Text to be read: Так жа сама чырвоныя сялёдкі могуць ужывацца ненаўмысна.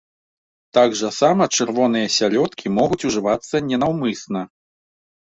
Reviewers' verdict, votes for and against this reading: accepted, 3, 0